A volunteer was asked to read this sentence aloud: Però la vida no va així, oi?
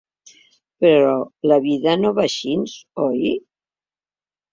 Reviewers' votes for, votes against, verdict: 2, 1, accepted